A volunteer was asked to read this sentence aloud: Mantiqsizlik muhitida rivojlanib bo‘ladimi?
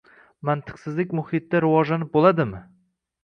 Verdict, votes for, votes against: accepted, 2, 0